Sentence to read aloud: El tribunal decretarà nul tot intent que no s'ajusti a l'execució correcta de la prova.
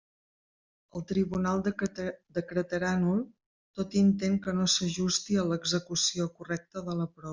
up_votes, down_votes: 1, 2